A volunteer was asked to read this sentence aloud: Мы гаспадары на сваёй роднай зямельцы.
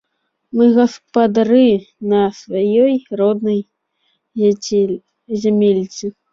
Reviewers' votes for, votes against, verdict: 0, 2, rejected